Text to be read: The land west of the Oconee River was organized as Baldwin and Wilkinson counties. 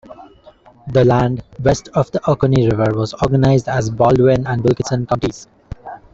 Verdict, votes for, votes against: rejected, 1, 2